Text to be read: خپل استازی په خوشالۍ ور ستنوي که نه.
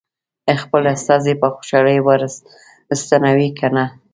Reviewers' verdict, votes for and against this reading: rejected, 1, 2